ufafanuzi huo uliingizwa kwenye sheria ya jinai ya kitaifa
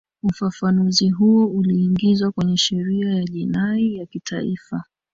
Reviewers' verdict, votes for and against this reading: rejected, 1, 2